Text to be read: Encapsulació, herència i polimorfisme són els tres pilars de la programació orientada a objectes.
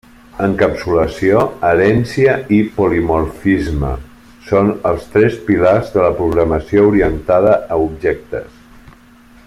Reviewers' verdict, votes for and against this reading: accepted, 2, 1